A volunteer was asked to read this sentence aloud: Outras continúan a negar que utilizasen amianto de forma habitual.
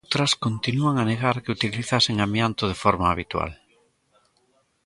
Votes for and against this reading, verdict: 0, 2, rejected